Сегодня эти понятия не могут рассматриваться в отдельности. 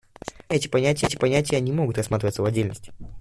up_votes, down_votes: 0, 2